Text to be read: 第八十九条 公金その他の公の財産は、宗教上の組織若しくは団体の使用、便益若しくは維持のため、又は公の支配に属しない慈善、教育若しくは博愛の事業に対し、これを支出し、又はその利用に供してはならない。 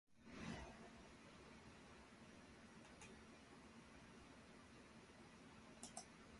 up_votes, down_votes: 0, 2